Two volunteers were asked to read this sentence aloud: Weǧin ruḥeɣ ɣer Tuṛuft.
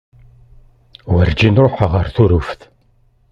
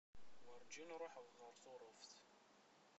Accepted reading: first